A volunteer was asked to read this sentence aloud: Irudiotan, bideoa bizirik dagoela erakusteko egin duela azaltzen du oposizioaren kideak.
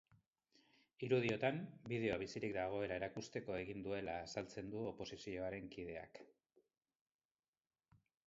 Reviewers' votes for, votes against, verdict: 2, 0, accepted